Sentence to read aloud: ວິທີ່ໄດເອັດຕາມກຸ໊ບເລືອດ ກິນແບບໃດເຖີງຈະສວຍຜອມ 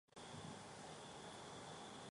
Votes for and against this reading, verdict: 0, 2, rejected